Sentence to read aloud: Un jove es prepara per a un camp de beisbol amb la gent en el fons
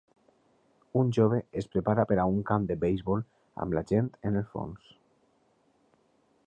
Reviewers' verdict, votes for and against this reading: rejected, 1, 2